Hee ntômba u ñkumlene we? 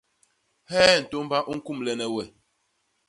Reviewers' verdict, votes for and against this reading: accepted, 2, 0